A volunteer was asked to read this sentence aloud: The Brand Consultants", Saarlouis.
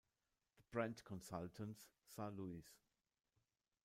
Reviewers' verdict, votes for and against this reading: rejected, 0, 2